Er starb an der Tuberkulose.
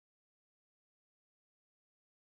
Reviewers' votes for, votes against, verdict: 0, 2, rejected